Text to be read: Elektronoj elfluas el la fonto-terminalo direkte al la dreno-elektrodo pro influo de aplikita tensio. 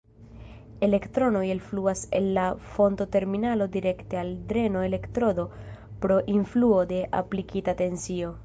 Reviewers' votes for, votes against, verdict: 2, 1, accepted